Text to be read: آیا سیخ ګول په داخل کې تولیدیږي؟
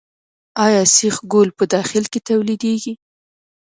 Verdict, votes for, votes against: accepted, 2, 0